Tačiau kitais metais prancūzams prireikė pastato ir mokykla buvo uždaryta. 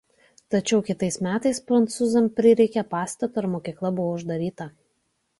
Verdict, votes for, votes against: rejected, 1, 2